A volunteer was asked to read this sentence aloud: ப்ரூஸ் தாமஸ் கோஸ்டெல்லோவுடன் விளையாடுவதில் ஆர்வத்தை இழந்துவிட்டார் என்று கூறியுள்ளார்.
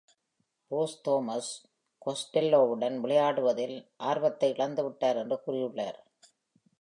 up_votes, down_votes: 2, 0